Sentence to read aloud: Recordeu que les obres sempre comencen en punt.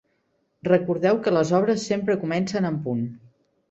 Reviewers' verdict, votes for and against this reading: accepted, 3, 0